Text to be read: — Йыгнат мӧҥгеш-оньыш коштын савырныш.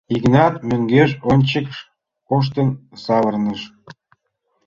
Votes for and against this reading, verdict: 0, 2, rejected